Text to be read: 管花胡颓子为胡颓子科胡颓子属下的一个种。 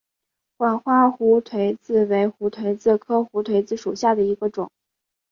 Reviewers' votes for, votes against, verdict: 2, 0, accepted